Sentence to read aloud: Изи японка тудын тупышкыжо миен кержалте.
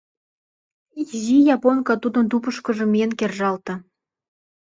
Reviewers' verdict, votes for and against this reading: accepted, 2, 0